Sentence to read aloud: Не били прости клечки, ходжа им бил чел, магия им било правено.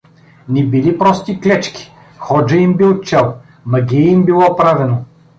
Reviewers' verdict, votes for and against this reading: accepted, 2, 0